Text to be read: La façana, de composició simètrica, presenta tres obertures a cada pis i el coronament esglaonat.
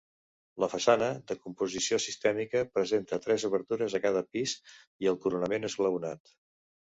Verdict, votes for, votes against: rejected, 1, 2